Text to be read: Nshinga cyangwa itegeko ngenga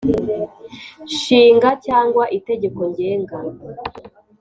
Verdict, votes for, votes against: accepted, 3, 0